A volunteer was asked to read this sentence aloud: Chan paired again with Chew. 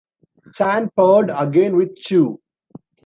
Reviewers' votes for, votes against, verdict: 0, 2, rejected